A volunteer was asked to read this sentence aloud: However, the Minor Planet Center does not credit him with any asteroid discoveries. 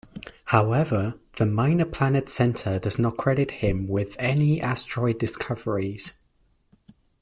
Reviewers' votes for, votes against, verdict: 2, 1, accepted